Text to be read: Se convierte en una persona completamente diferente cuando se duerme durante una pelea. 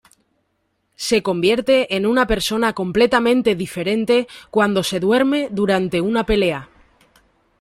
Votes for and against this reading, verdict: 2, 0, accepted